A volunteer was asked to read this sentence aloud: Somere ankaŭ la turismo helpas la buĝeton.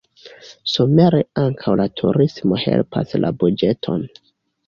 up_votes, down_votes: 2, 0